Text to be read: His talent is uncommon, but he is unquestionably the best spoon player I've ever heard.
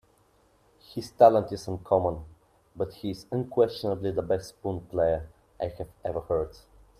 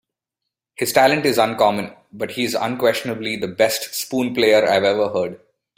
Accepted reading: second